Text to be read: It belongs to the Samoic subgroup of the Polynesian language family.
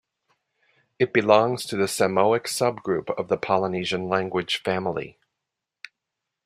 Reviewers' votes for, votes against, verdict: 2, 0, accepted